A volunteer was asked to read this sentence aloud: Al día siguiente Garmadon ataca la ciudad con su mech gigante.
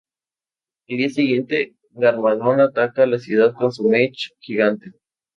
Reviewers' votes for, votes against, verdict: 2, 2, rejected